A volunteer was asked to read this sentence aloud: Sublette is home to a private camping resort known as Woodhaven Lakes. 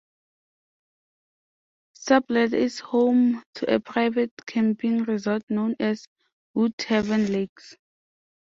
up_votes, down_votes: 2, 0